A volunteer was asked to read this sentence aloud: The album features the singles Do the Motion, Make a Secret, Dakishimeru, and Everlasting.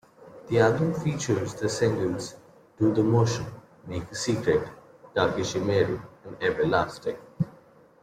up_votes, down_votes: 2, 0